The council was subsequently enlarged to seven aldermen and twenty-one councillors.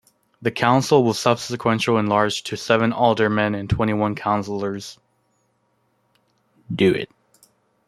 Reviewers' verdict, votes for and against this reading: rejected, 1, 2